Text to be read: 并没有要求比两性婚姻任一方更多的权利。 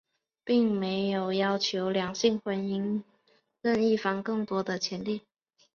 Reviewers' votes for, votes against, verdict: 1, 2, rejected